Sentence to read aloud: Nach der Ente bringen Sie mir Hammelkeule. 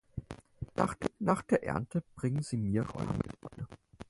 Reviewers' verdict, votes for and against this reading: rejected, 0, 4